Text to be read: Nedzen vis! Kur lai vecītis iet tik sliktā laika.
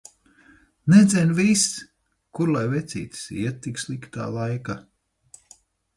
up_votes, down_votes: 4, 2